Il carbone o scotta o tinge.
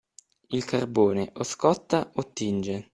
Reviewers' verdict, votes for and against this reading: accepted, 2, 0